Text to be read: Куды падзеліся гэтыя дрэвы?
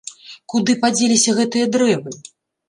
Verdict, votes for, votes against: accepted, 2, 0